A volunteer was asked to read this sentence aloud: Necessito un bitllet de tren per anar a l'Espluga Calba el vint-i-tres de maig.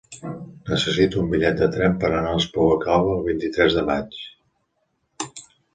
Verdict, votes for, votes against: accepted, 2, 0